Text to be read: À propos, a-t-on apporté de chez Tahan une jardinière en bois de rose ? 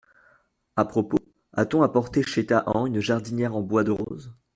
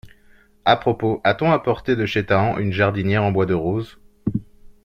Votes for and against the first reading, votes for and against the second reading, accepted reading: 1, 2, 2, 0, second